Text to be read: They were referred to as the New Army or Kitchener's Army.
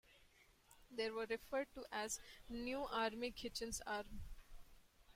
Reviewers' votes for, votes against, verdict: 0, 2, rejected